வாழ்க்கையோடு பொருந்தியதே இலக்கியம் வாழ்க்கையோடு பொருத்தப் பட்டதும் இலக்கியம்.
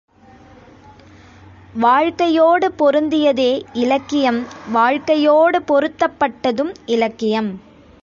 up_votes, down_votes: 2, 1